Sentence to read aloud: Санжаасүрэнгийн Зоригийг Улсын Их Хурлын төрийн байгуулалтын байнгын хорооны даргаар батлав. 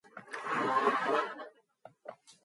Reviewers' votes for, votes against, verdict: 0, 2, rejected